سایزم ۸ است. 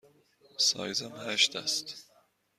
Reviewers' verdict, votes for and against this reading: rejected, 0, 2